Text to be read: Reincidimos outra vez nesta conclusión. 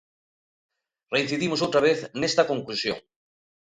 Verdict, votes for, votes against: accepted, 2, 0